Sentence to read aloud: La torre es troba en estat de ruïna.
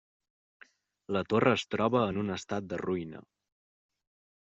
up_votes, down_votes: 1, 2